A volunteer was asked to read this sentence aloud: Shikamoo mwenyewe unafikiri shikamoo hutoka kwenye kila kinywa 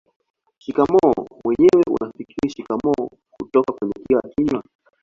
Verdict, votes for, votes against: rejected, 1, 2